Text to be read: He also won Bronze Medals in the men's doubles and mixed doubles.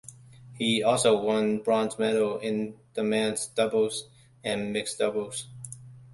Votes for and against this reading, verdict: 2, 0, accepted